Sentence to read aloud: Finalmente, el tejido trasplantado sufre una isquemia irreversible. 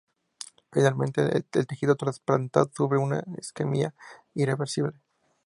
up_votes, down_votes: 2, 0